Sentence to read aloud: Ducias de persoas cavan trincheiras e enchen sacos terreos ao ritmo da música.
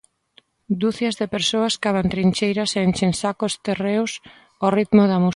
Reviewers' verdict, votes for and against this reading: rejected, 0, 2